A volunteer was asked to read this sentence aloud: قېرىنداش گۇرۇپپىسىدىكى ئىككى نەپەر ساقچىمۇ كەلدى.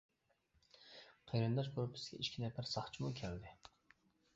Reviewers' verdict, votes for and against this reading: rejected, 0, 2